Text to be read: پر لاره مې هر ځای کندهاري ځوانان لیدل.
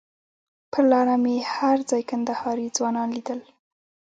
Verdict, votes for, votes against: accepted, 3, 1